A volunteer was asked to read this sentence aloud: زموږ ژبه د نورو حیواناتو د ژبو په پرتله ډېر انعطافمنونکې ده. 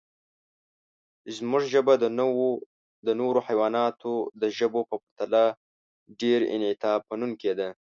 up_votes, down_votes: 1, 2